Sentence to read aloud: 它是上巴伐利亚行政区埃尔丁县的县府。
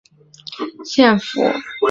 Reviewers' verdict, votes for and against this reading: rejected, 1, 2